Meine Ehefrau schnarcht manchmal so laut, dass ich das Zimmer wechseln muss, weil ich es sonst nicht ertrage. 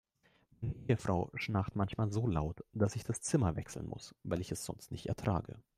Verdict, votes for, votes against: rejected, 0, 2